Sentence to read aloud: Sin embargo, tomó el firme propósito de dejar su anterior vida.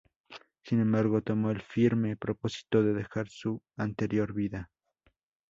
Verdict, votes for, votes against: accepted, 2, 0